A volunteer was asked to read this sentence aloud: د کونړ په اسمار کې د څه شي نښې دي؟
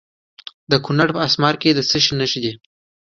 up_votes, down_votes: 2, 0